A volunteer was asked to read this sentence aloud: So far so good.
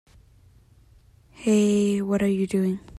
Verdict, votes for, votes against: rejected, 0, 2